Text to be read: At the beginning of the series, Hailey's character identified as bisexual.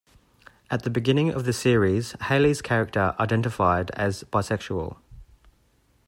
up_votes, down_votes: 2, 0